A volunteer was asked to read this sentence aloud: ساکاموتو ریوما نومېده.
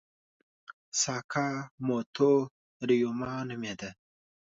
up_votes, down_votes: 2, 0